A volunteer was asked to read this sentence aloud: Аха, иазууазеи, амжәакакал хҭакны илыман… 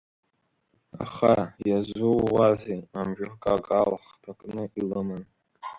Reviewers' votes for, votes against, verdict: 2, 0, accepted